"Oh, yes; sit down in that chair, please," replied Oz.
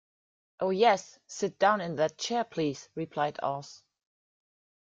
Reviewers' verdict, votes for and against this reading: accepted, 2, 0